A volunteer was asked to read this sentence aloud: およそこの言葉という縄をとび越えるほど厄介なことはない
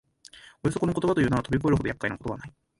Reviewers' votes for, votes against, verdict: 0, 2, rejected